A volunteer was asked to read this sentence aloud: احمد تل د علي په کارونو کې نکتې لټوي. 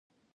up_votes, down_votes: 1, 2